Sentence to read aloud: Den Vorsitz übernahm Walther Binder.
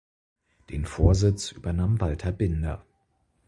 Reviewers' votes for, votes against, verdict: 4, 0, accepted